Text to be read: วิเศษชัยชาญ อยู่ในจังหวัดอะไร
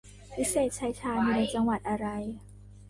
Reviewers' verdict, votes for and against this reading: accepted, 2, 1